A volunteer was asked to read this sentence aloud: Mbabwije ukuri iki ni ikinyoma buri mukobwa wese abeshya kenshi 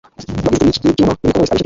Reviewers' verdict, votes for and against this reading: rejected, 1, 2